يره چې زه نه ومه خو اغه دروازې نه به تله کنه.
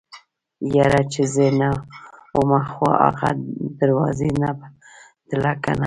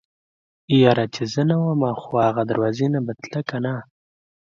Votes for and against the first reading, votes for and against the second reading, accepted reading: 0, 2, 2, 0, second